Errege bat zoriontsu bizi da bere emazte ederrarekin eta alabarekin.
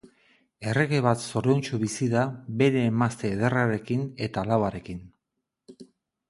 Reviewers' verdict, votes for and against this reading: rejected, 0, 2